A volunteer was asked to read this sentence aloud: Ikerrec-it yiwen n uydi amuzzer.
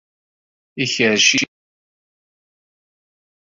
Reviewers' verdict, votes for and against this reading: rejected, 0, 2